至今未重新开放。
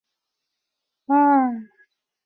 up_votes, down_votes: 0, 2